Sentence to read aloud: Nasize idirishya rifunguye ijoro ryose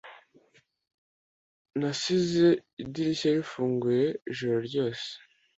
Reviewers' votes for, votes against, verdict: 2, 0, accepted